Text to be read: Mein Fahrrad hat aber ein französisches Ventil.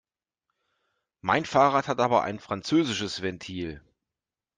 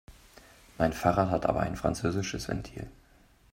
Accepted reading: first